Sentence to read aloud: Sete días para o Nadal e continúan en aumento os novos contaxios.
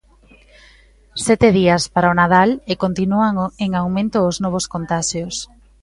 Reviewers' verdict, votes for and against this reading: rejected, 0, 2